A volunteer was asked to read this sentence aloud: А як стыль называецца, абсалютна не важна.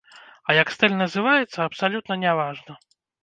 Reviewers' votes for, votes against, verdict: 2, 0, accepted